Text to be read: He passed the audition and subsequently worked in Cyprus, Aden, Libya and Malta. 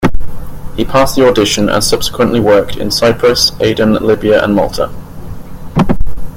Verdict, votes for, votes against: accepted, 2, 0